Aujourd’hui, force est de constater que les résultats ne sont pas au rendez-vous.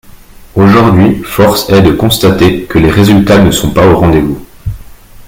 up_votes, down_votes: 1, 2